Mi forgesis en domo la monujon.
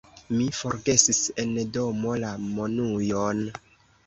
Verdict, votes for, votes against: rejected, 1, 2